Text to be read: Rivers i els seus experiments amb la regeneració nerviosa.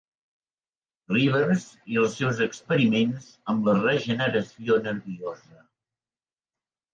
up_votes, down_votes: 3, 0